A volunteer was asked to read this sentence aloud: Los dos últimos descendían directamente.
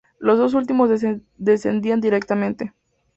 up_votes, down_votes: 0, 4